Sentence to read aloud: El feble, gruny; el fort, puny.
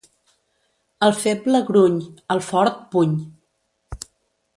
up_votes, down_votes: 2, 0